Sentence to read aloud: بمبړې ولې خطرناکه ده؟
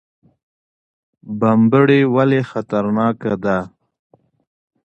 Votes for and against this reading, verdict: 2, 0, accepted